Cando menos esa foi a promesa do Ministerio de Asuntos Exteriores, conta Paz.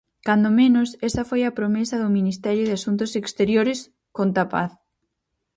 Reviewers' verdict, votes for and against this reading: accepted, 4, 0